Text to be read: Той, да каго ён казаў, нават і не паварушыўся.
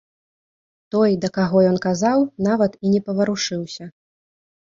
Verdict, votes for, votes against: accepted, 2, 0